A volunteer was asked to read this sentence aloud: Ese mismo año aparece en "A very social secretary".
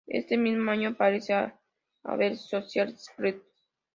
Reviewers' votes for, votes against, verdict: 0, 2, rejected